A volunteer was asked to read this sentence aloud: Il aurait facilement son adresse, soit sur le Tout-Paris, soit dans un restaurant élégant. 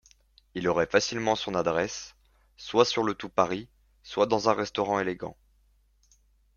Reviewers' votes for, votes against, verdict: 2, 0, accepted